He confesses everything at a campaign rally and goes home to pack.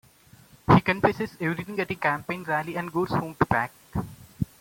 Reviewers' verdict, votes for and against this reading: accepted, 2, 1